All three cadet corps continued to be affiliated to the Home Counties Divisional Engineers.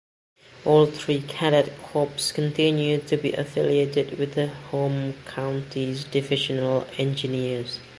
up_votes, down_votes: 2, 0